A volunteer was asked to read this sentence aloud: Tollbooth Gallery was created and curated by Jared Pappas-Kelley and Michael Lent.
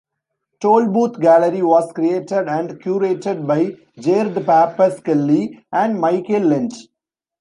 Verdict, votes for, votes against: accepted, 2, 1